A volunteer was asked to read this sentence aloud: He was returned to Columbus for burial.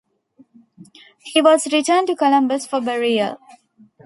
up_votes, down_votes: 2, 0